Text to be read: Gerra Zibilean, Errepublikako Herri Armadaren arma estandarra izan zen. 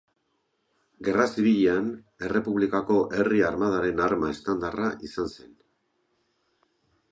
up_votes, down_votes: 3, 0